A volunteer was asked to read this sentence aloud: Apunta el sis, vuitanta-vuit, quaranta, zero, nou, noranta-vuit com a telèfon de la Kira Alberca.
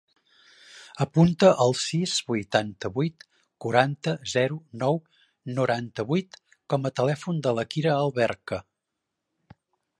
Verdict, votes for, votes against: accepted, 5, 1